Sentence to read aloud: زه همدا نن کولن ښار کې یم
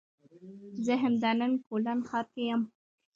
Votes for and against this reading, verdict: 1, 2, rejected